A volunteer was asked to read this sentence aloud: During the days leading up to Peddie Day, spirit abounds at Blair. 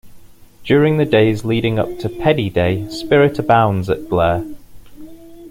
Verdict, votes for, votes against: accepted, 2, 0